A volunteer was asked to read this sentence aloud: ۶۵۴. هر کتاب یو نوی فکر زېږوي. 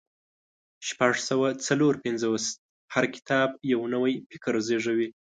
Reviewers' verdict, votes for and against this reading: rejected, 0, 2